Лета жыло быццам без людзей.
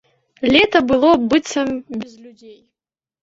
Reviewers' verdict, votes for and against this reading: rejected, 0, 2